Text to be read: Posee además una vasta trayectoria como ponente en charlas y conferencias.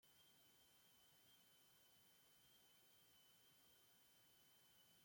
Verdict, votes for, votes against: rejected, 0, 2